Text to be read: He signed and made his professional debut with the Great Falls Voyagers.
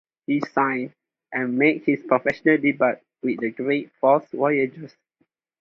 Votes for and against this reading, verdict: 2, 0, accepted